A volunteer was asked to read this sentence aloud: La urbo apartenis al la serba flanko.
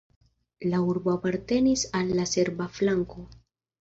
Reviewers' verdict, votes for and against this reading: accepted, 2, 0